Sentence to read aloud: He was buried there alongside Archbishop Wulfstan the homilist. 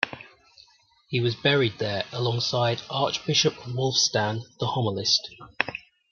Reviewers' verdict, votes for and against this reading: rejected, 1, 2